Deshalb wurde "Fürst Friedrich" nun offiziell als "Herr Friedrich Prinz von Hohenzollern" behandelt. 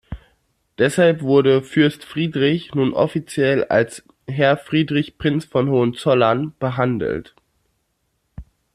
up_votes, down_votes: 2, 0